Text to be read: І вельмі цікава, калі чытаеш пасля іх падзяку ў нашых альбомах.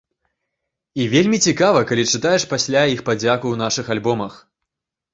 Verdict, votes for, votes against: accepted, 4, 0